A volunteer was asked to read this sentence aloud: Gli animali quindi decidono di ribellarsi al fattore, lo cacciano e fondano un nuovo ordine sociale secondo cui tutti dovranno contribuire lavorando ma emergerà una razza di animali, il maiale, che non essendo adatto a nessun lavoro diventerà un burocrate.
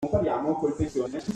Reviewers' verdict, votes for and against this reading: rejected, 0, 2